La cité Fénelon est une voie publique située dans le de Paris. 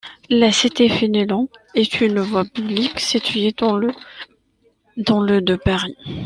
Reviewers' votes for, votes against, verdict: 0, 2, rejected